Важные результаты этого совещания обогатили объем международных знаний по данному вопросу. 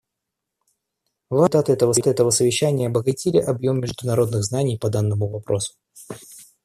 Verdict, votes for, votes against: rejected, 0, 2